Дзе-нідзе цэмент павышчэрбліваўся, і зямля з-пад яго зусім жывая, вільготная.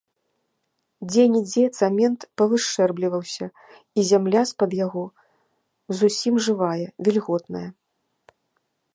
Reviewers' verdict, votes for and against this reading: rejected, 1, 2